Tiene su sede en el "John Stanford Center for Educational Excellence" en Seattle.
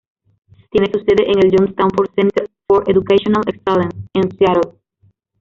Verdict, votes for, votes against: rejected, 0, 2